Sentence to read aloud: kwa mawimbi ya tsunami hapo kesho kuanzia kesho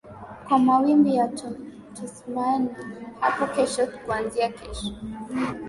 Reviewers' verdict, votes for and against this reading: rejected, 0, 2